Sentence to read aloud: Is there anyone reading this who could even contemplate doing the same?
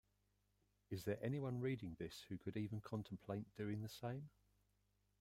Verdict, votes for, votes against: rejected, 1, 2